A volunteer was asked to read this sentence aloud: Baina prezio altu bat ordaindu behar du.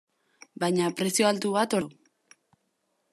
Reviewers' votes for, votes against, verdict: 0, 2, rejected